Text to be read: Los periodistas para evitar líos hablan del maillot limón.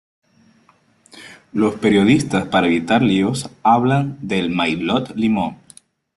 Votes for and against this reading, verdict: 2, 0, accepted